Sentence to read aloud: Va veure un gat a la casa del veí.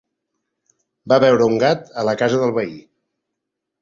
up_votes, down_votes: 3, 0